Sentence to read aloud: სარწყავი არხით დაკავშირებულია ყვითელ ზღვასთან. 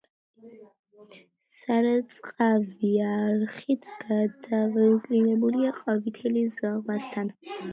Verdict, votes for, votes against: rejected, 1, 2